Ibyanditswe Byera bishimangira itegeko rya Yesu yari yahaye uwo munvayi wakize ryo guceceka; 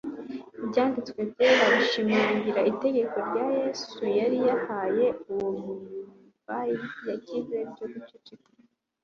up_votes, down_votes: 1, 2